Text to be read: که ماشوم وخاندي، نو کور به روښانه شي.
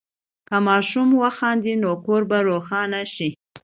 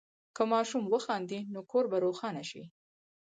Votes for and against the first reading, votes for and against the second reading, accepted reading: 2, 0, 2, 4, first